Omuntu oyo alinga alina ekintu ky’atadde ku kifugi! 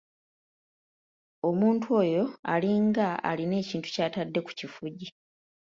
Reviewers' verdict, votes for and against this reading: accepted, 2, 0